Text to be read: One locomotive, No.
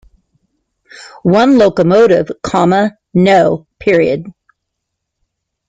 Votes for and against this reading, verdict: 0, 2, rejected